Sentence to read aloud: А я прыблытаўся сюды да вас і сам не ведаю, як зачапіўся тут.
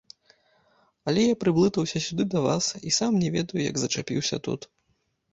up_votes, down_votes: 0, 2